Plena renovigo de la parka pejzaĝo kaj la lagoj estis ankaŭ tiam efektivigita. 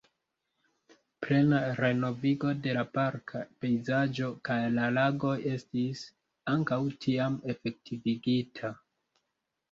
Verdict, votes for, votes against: rejected, 1, 2